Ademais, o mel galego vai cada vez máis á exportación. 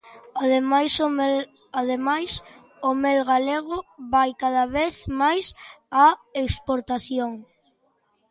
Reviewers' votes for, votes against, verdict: 1, 2, rejected